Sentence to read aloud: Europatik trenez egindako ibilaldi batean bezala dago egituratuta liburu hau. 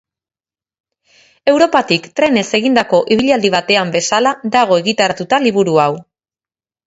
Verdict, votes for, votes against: rejected, 0, 4